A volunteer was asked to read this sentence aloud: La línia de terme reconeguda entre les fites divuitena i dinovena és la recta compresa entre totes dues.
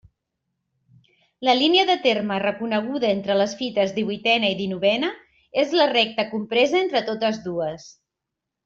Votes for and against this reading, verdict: 2, 0, accepted